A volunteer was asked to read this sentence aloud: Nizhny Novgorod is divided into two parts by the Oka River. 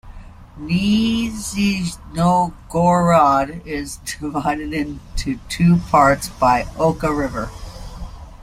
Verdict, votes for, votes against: rejected, 0, 2